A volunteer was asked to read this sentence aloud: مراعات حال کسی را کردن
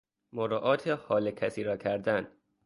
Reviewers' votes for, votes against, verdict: 2, 0, accepted